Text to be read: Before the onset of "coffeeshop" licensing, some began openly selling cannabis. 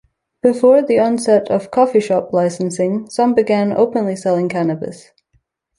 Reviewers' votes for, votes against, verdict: 2, 0, accepted